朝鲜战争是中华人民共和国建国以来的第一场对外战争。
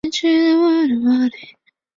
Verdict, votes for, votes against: rejected, 0, 3